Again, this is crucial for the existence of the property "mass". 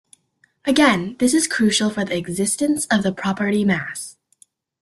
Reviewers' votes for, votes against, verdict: 2, 0, accepted